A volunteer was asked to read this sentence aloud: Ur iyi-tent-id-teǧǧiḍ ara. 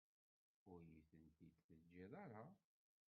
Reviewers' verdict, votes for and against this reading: rejected, 0, 2